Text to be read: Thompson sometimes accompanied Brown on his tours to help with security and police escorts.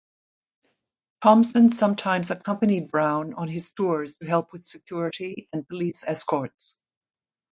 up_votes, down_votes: 2, 0